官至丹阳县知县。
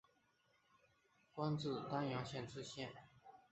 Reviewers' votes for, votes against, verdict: 2, 2, rejected